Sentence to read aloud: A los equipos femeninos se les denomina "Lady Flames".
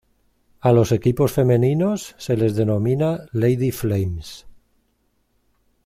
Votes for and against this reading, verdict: 2, 0, accepted